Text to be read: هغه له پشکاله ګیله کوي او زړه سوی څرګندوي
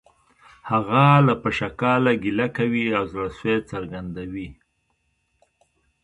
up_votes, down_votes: 2, 1